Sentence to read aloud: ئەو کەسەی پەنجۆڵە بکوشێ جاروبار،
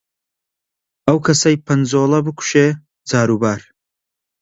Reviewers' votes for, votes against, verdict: 2, 0, accepted